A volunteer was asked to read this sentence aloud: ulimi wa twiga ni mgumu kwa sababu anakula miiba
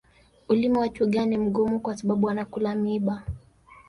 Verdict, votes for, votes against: rejected, 1, 2